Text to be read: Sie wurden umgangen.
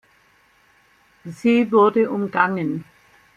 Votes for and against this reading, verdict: 1, 2, rejected